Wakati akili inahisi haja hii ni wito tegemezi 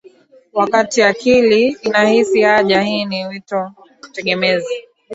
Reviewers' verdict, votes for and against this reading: accepted, 2, 0